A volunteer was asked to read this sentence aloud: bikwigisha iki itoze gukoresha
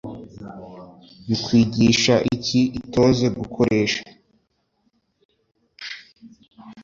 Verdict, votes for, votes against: accepted, 2, 0